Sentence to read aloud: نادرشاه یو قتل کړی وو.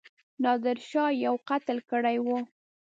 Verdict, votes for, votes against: rejected, 1, 2